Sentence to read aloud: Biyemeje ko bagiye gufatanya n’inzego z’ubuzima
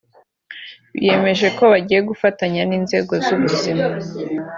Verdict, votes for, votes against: accepted, 2, 1